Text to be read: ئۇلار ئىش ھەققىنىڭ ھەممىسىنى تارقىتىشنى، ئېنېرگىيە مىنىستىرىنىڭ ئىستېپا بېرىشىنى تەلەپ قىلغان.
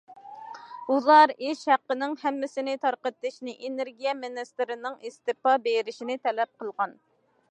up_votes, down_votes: 2, 0